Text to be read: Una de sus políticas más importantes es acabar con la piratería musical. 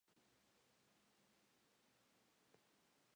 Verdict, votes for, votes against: rejected, 2, 2